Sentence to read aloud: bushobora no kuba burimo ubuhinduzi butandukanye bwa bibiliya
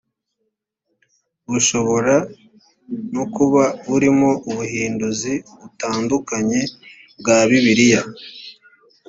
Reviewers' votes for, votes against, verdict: 2, 0, accepted